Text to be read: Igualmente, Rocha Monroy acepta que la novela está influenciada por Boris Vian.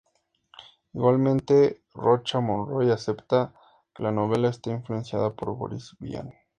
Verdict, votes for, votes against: accepted, 2, 0